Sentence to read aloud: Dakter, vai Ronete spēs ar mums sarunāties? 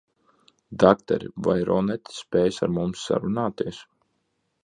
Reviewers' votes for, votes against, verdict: 2, 0, accepted